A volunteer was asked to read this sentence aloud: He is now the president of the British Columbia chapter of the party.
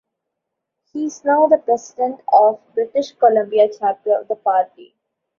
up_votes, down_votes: 0, 2